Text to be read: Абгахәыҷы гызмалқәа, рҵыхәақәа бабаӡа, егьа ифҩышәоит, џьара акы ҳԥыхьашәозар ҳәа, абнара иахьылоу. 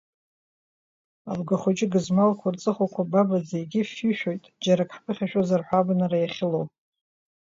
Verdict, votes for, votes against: rejected, 1, 2